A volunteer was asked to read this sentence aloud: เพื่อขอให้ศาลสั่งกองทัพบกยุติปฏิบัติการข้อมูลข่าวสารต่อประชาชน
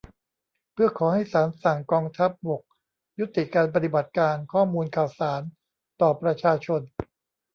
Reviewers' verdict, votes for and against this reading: rejected, 0, 2